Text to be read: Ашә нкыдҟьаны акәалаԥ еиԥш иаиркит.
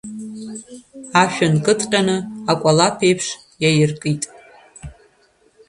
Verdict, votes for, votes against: accepted, 2, 1